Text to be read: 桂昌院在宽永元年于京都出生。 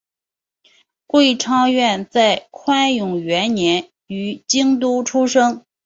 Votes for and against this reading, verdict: 2, 0, accepted